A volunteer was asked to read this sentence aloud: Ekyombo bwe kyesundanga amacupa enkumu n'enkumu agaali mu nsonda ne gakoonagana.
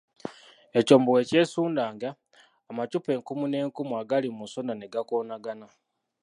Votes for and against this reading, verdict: 0, 2, rejected